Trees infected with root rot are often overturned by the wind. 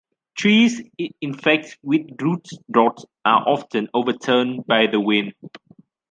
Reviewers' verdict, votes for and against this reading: rejected, 1, 2